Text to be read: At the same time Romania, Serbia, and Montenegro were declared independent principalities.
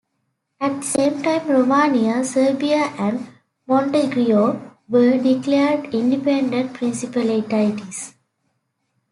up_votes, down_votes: 2, 1